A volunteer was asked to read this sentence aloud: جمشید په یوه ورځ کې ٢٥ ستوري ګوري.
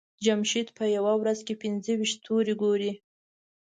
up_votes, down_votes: 0, 2